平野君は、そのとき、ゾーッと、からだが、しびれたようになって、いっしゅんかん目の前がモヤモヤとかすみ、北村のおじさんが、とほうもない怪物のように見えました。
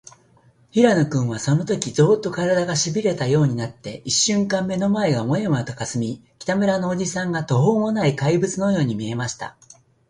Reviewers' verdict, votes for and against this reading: accepted, 2, 0